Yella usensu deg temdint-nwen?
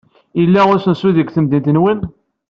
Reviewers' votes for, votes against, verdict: 2, 0, accepted